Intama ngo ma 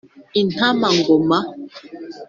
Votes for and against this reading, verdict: 2, 0, accepted